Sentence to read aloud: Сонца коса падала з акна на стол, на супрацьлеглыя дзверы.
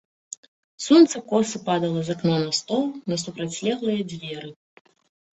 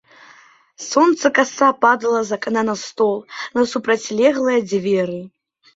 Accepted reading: first